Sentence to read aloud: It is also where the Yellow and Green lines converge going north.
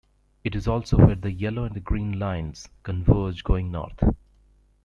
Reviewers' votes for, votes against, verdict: 2, 0, accepted